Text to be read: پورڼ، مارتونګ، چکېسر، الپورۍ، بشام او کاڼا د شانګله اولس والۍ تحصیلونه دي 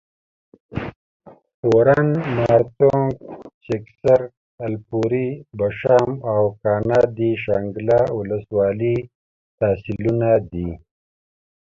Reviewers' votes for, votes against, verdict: 2, 1, accepted